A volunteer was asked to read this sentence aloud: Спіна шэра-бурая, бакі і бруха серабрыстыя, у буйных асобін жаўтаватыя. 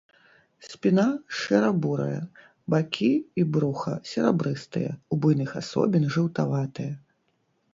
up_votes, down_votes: 0, 2